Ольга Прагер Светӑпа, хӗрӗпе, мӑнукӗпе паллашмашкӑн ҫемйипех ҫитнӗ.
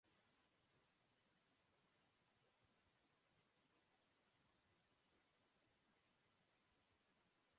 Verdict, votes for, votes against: rejected, 1, 2